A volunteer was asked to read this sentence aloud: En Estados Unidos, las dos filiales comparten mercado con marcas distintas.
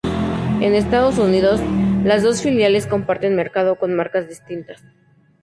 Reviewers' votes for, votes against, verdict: 2, 0, accepted